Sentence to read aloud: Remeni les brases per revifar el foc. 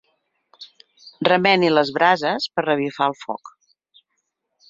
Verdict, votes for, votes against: accepted, 4, 0